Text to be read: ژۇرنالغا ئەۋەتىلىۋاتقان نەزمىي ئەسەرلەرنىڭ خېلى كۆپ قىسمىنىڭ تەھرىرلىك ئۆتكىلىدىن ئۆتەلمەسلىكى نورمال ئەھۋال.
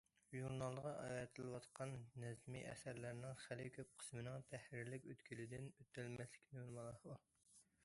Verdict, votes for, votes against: rejected, 0, 2